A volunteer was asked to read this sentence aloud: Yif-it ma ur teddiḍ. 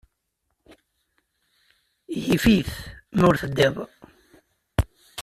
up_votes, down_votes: 2, 0